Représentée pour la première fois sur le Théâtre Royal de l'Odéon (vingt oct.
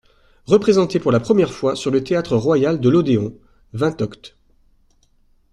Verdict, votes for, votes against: accepted, 2, 0